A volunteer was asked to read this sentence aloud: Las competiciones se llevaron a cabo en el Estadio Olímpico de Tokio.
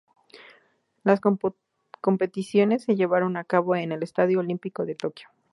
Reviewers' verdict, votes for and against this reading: rejected, 0, 2